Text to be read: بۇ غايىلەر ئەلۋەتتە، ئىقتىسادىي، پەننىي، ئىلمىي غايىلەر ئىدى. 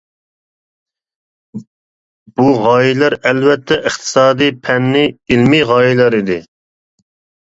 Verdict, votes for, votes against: accepted, 2, 0